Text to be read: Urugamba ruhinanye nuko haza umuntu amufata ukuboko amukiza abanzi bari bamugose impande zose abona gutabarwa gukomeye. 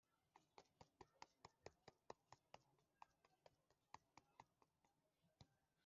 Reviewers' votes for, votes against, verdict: 1, 2, rejected